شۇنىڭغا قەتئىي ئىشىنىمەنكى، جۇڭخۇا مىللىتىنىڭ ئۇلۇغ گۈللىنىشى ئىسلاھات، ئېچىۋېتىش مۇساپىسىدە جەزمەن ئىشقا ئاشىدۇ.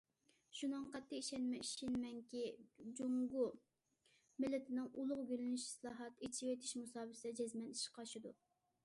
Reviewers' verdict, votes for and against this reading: rejected, 0, 2